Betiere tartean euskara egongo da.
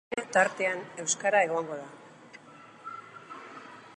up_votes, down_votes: 0, 2